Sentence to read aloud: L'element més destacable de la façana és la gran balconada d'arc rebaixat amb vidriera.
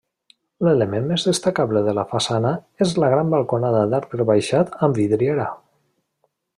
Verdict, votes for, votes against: accepted, 2, 0